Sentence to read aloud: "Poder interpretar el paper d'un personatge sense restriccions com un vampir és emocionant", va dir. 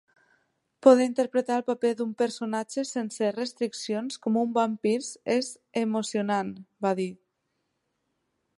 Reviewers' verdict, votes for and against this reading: accepted, 2, 1